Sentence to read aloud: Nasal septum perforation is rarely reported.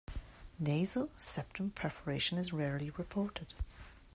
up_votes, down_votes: 2, 0